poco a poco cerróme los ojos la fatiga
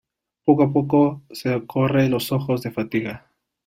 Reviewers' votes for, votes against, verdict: 0, 2, rejected